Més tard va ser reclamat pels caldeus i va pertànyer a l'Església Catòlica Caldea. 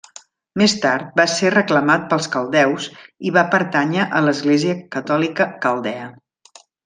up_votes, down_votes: 3, 0